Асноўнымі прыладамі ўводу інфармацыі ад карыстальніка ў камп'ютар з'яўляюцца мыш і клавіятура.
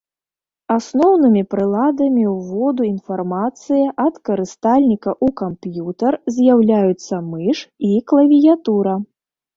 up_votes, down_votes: 1, 2